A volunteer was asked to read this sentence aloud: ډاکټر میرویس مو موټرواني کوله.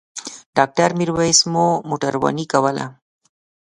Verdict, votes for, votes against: accepted, 2, 0